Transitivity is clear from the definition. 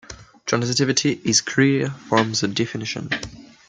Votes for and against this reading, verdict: 1, 2, rejected